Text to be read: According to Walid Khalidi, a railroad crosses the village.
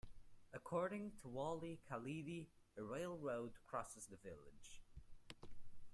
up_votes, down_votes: 2, 0